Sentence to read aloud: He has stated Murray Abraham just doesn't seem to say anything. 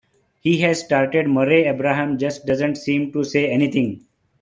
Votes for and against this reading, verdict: 0, 2, rejected